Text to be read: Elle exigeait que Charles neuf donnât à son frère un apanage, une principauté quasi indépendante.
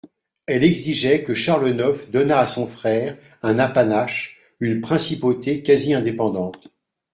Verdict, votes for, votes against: rejected, 0, 2